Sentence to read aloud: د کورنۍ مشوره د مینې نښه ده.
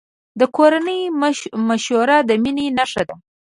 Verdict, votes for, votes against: rejected, 1, 2